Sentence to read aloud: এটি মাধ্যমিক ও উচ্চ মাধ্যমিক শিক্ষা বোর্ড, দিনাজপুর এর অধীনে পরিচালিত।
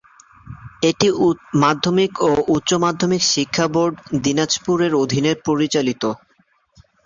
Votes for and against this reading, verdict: 0, 4, rejected